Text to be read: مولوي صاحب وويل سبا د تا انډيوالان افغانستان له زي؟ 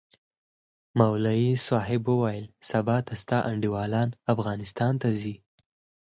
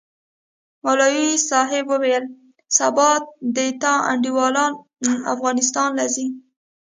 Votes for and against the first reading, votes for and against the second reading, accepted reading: 4, 0, 1, 2, first